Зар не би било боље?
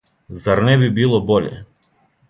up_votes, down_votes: 2, 0